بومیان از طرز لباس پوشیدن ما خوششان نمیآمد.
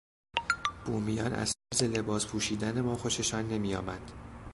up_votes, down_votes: 0, 2